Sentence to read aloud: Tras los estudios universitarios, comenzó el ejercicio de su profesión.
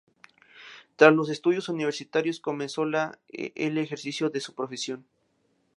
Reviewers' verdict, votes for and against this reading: rejected, 0, 2